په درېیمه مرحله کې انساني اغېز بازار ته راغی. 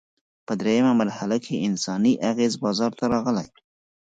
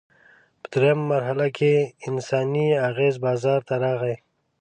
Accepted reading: second